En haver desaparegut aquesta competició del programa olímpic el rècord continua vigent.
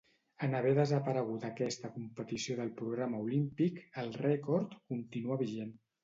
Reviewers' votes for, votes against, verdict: 2, 0, accepted